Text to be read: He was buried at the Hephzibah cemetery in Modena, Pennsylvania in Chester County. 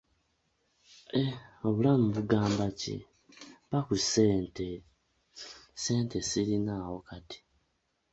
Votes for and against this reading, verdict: 0, 2, rejected